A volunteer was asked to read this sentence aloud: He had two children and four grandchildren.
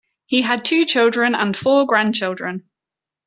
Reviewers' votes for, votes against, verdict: 2, 0, accepted